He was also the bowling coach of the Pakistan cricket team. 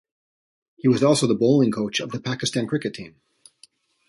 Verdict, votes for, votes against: rejected, 1, 2